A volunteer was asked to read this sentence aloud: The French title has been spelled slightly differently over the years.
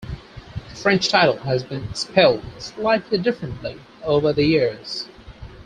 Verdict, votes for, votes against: accepted, 6, 0